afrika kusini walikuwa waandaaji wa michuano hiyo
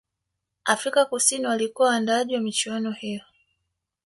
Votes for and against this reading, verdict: 0, 2, rejected